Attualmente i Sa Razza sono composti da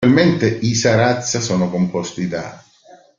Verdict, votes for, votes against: accepted, 2, 0